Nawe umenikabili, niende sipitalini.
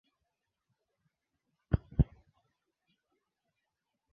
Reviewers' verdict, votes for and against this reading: rejected, 0, 2